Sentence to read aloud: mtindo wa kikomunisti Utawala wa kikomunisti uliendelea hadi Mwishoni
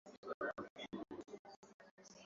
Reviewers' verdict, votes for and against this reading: rejected, 1, 5